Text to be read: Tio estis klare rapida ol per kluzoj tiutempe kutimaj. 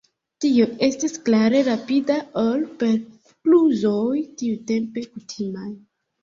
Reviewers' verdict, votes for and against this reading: accepted, 2, 0